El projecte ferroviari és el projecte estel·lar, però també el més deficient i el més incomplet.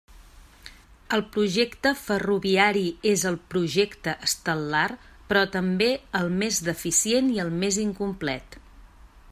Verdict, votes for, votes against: accepted, 3, 0